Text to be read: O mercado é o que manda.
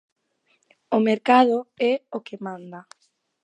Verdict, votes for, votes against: accepted, 2, 0